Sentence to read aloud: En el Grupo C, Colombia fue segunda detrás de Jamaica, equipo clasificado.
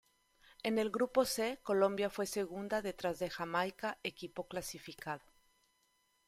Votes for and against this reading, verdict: 2, 0, accepted